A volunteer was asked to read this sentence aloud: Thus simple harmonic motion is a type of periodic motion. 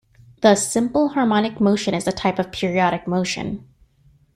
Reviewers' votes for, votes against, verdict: 2, 0, accepted